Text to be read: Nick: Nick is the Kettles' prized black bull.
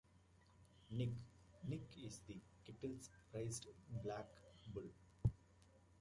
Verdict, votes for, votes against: accepted, 2, 0